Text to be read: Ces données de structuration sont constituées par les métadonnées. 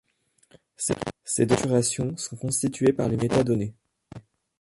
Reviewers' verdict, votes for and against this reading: rejected, 1, 2